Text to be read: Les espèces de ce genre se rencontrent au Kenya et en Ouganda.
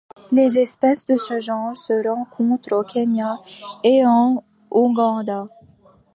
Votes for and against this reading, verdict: 2, 1, accepted